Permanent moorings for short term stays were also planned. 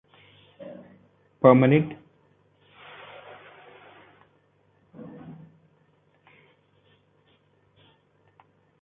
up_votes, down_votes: 0, 2